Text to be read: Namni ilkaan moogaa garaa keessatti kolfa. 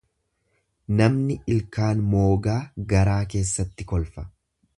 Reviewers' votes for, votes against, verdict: 2, 0, accepted